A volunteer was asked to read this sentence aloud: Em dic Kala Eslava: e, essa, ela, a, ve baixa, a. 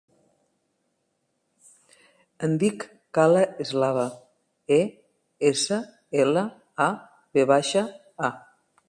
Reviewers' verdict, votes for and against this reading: accepted, 3, 0